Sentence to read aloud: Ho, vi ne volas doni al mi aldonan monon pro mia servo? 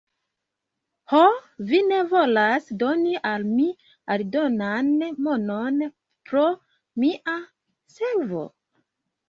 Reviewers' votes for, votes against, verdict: 2, 0, accepted